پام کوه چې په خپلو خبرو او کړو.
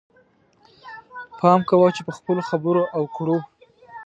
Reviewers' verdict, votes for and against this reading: accepted, 2, 1